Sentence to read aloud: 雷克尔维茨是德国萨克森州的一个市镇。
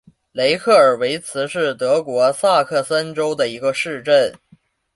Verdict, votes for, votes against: rejected, 1, 2